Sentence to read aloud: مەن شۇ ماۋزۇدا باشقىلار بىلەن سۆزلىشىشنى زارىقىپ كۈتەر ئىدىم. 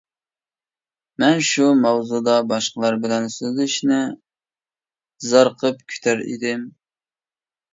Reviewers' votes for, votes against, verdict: 2, 0, accepted